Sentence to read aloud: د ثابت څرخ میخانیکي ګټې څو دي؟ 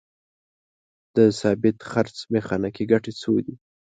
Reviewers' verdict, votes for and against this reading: rejected, 1, 2